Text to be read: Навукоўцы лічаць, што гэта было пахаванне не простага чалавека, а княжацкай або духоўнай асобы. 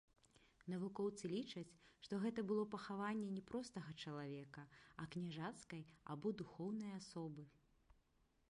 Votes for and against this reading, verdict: 1, 2, rejected